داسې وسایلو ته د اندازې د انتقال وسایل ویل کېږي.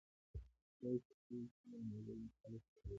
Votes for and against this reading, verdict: 0, 2, rejected